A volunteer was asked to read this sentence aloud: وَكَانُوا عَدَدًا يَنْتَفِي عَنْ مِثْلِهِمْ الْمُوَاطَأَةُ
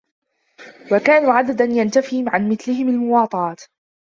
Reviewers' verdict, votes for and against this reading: rejected, 0, 2